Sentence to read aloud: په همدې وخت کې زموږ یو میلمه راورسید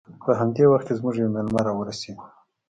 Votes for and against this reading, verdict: 2, 0, accepted